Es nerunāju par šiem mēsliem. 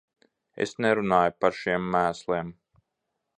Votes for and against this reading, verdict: 2, 0, accepted